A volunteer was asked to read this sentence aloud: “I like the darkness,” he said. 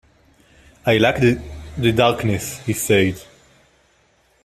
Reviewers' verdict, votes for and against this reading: rejected, 0, 2